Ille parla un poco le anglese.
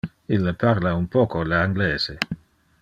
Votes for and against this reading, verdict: 2, 0, accepted